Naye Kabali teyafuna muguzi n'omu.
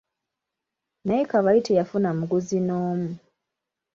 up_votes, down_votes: 2, 0